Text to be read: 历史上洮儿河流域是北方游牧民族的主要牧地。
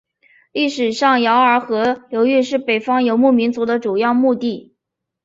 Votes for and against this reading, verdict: 3, 0, accepted